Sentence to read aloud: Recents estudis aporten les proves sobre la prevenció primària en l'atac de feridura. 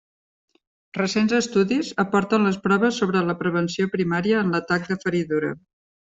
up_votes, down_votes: 3, 0